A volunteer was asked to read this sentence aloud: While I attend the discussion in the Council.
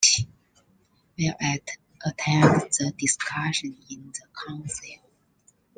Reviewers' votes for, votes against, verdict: 1, 2, rejected